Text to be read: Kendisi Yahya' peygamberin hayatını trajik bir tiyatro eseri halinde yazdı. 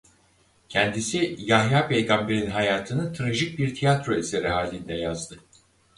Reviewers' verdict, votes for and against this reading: accepted, 4, 0